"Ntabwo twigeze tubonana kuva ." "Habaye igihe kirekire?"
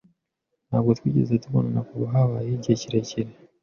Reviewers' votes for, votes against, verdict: 2, 0, accepted